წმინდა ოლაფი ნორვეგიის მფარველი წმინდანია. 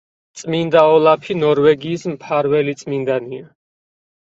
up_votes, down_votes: 4, 0